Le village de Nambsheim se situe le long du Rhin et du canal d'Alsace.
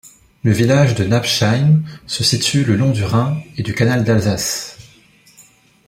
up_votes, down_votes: 1, 2